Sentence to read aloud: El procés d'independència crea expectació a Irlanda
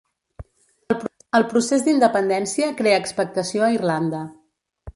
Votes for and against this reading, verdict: 0, 2, rejected